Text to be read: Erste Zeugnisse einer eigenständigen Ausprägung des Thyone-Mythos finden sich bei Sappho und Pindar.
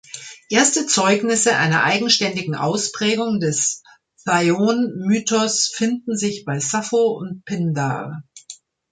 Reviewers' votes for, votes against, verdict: 0, 2, rejected